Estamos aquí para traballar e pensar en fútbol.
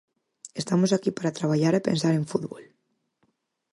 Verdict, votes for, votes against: accepted, 4, 0